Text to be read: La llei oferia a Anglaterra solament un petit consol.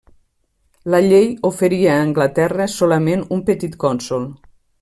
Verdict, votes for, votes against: rejected, 1, 2